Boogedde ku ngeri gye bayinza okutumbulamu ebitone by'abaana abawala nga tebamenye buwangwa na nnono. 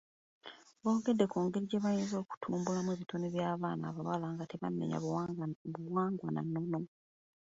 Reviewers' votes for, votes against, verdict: 2, 0, accepted